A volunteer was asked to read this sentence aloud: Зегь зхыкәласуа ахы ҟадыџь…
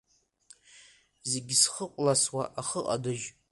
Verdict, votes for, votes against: accepted, 2, 1